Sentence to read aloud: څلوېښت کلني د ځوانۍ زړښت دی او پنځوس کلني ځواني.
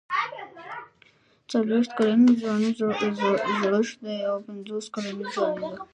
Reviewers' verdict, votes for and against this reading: rejected, 1, 2